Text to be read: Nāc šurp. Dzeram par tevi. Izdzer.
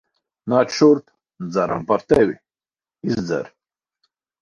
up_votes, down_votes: 4, 0